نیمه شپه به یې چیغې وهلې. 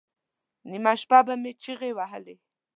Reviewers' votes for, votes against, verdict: 1, 2, rejected